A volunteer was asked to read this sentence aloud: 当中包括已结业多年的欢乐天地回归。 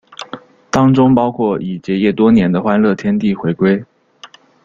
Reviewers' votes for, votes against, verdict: 2, 0, accepted